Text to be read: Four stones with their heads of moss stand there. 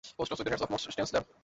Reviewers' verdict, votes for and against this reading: rejected, 0, 2